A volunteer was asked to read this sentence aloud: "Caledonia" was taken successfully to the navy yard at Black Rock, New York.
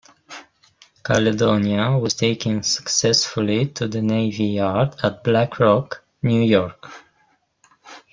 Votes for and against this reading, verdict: 0, 2, rejected